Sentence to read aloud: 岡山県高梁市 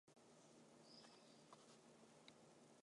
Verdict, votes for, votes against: rejected, 0, 2